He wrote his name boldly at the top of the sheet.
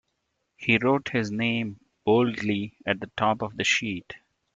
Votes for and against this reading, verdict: 2, 0, accepted